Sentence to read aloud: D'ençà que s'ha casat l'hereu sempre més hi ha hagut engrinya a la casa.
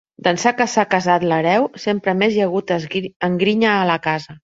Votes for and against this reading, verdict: 0, 2, rejected